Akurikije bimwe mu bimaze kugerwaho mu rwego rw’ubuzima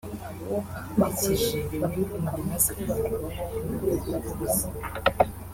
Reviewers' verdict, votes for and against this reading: rejected, 0, 2